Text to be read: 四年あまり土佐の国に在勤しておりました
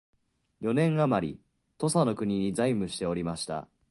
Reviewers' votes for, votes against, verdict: 0, 2, rejected